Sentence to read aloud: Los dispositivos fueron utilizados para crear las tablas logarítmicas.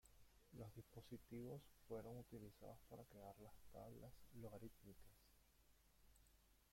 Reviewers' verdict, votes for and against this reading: rejected, 0, 2